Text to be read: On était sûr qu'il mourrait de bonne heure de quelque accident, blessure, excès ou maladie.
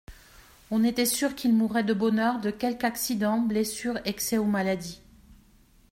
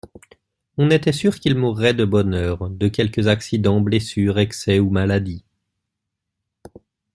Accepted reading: first